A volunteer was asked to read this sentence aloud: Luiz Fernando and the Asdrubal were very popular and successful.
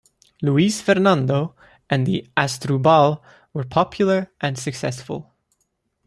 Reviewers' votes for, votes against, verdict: 0, 2, rejected